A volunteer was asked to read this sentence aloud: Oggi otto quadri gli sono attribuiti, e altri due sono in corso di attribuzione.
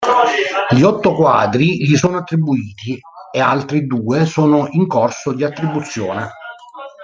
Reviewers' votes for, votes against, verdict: 1, 4, rejected